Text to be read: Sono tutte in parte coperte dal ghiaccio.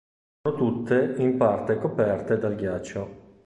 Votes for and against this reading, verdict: 0, 2, rejected